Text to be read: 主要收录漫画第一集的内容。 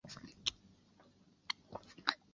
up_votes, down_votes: 0, 2